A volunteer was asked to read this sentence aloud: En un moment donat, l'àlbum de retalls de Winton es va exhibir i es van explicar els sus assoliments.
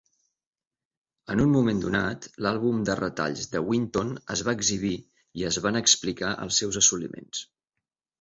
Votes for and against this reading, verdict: 1, 2, rejected